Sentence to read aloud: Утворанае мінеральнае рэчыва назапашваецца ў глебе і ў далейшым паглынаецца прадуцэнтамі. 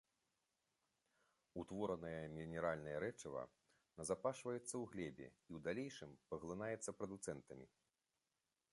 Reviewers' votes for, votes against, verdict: 2, 0, accepted